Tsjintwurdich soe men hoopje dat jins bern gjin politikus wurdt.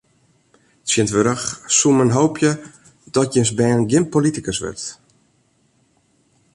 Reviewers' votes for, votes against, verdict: 2, 0, accepted